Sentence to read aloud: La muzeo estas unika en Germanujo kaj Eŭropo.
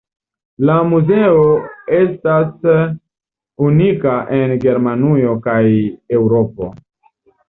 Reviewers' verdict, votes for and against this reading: accepted, 2, 0